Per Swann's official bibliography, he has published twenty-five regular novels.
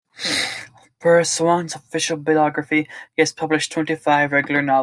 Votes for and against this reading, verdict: 0, 2, rejected